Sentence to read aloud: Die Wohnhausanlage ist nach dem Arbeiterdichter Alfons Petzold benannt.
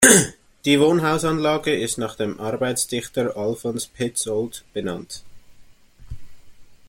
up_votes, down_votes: 2, 0